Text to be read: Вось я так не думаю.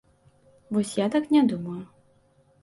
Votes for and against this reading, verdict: 2, 0, accepted